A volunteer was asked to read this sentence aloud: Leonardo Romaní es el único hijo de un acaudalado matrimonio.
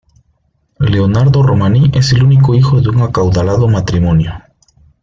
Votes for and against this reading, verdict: 2, 0, accepted